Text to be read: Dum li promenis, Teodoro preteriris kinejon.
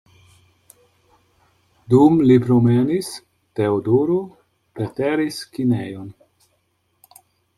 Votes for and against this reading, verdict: 0, 2, rejected